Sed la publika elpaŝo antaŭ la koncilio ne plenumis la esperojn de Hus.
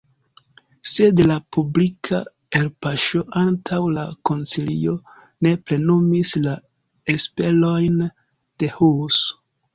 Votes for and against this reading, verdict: 1, 2, rejected